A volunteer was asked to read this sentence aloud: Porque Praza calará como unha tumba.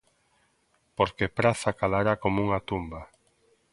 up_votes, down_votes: 2, 0